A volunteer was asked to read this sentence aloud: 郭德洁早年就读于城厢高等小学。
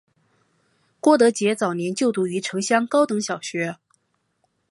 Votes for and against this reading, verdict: 2, 0, accepted